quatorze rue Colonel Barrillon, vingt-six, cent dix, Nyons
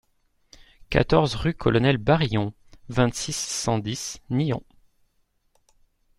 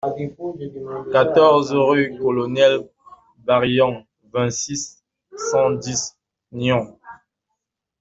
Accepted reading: first